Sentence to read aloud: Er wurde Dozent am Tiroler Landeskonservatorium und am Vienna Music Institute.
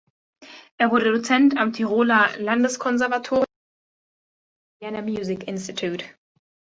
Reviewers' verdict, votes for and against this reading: rejected, 0, 2